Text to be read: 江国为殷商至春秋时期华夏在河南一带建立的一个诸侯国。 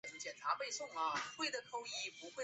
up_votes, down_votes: 0, 3